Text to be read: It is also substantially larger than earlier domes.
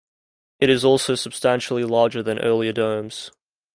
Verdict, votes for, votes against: accepted, 2, 0